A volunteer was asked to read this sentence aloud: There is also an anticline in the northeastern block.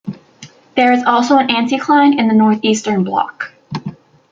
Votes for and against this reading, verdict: 2, 1, accepted